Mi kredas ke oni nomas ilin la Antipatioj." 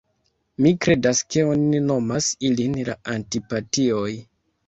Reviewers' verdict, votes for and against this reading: rejected, 1, 2